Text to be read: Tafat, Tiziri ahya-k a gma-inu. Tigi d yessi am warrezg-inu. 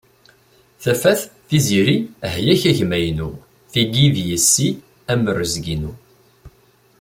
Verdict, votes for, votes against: accepted, 2, 1